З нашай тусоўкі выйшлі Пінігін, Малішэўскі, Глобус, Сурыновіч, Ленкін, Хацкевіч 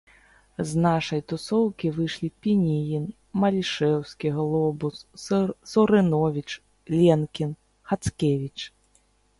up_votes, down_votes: 1, 2